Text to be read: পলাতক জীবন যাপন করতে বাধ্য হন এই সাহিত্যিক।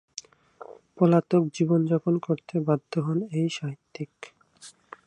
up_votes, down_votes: 4, 0